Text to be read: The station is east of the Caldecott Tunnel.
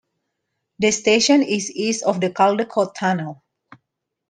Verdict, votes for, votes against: accepted, 2, 0